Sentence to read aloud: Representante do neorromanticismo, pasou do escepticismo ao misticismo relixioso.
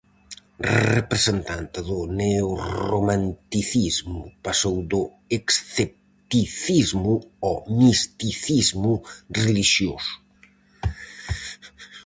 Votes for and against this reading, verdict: 0, 4, rejected